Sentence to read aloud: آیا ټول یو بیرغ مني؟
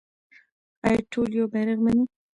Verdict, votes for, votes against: rejected, 0, 2